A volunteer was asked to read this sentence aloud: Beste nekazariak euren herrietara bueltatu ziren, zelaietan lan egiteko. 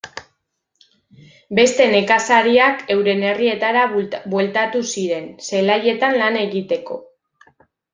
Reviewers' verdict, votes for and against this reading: rejected, 1, 2